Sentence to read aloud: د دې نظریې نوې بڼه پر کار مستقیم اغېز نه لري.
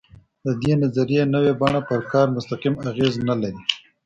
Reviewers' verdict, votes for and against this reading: accepted, 2, 0